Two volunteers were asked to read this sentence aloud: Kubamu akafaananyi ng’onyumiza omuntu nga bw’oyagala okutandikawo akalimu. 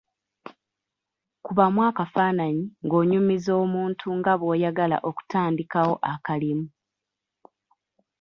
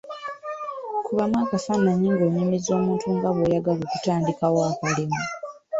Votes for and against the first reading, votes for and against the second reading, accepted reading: 2, 1, 1, 2, first